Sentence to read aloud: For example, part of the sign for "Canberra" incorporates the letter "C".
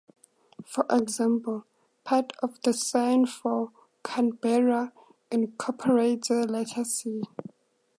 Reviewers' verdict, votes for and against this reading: accepted, 4, 0